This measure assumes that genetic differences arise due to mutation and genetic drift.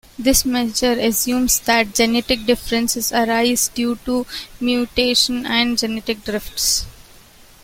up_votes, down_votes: 0, 2